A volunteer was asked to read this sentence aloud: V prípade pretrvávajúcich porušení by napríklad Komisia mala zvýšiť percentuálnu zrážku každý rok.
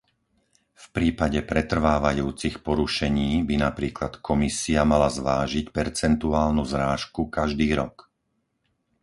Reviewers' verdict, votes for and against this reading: rejected, 0, 4